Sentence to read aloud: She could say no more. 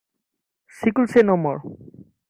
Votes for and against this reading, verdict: 1, 2, rejected